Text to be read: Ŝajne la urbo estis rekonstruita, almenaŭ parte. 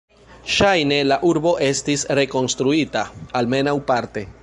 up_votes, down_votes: 2, 1